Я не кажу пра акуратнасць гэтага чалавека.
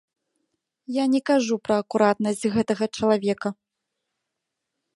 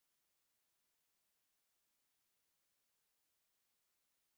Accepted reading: first